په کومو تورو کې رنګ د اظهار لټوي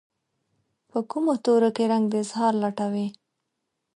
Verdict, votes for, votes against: accepted, 3, 1